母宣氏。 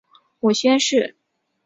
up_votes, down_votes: 3, 0